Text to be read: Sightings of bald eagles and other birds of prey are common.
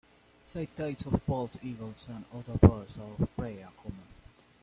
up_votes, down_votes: 0, 2